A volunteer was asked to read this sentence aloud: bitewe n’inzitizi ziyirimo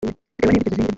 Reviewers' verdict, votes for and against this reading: rejected, 0, 2